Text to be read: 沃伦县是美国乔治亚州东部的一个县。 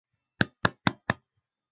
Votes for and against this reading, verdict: 1, 4, rejected